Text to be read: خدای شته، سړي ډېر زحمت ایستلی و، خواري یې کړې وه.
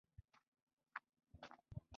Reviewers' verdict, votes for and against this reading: rejected, 1, 2